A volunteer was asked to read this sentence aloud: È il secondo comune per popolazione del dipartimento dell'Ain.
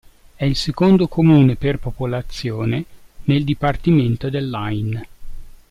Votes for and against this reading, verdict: 2, 0, accepted